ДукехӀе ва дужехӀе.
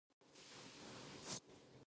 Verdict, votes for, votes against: rejected, 0, 2